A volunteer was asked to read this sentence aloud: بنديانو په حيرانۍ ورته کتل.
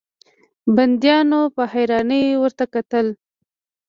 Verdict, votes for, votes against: rejected, 1, 2